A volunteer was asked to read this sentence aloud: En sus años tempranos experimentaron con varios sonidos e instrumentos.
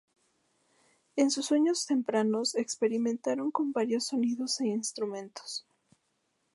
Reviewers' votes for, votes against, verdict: 2, 0, accepted